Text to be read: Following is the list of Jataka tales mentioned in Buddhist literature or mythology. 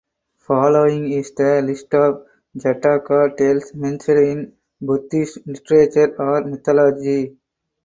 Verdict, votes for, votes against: rejected, 0, 4